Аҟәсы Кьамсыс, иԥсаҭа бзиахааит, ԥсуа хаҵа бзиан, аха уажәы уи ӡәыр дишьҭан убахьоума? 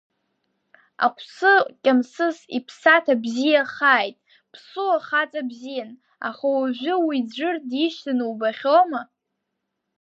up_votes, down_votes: 1, 2